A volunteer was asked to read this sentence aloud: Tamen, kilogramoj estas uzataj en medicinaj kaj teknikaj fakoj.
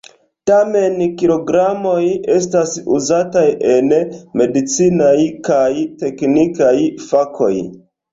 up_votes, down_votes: 3, 0